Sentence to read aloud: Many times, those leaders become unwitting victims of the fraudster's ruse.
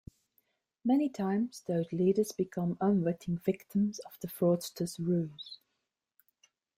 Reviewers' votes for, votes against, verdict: 2, 0, accepted